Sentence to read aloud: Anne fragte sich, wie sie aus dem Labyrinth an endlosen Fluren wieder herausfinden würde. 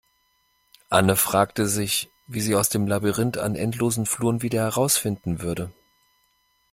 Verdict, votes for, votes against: accepted, 2, 0